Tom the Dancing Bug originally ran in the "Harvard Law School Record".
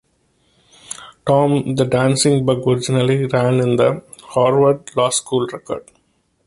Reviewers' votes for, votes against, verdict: 2, 0, accepted